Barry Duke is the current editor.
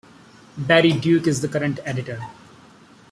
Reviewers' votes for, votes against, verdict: 2, 0, accepted